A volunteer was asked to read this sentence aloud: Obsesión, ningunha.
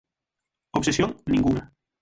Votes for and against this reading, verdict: 6, 0, accepted